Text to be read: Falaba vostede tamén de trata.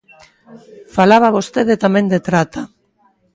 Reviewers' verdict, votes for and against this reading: accepted, 2, 0